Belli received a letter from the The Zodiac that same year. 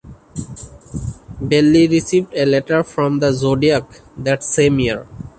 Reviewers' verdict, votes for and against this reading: accepted, 2, 0